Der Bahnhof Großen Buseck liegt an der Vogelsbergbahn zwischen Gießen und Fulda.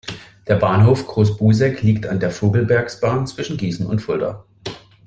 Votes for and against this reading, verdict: 0, 2, rejected